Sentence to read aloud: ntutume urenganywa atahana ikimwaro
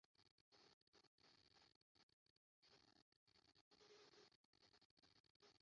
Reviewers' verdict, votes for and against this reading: rejected, 0, 2